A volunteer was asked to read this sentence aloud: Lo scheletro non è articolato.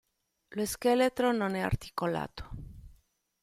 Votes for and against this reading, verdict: 2, 0, accepted